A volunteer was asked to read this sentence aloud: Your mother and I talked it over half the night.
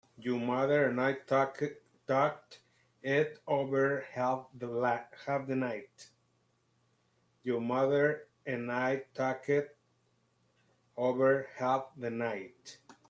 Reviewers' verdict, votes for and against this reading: rejected, 0, 2